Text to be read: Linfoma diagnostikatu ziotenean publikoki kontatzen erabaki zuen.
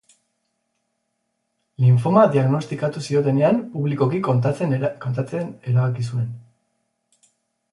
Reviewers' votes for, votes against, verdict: 0, 4, rejected